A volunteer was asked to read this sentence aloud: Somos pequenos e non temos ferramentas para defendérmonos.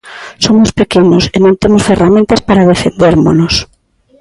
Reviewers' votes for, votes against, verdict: 2, 0, accepted